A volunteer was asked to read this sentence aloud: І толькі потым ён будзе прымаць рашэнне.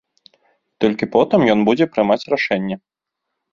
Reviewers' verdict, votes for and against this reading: rejected, 0, 2